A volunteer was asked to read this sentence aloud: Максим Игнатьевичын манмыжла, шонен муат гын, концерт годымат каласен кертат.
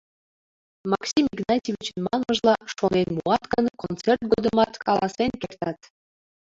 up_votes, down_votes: 1, 2